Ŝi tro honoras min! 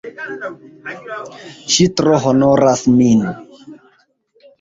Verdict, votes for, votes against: rejected, 0, 2